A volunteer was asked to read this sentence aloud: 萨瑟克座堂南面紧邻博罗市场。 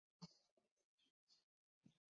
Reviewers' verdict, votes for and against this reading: rejected, 0, 2